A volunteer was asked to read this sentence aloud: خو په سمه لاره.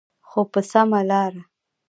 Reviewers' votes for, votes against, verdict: 1, 2, rejected